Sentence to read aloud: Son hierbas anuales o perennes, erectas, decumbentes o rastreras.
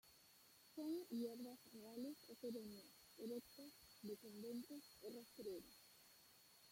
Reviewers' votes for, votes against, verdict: 0, 2, rejected